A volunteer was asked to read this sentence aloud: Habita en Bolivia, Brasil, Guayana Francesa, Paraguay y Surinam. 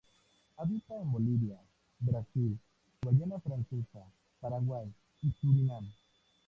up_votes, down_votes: 0, 4